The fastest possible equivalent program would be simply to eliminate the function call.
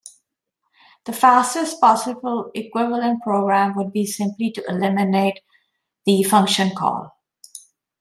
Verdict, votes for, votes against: accepted, 2, 0